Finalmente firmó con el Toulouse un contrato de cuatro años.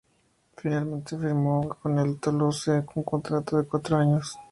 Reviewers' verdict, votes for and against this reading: accepted, 2, 0